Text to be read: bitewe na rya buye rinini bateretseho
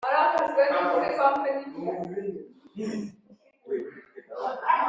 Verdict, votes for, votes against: rejected, 0, 4